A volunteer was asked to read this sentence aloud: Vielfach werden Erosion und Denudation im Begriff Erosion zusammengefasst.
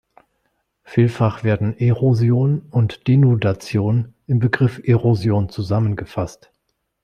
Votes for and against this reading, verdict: 2, 0, accepted